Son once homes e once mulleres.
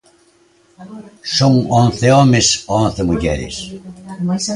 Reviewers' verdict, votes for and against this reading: rejected, 0, 3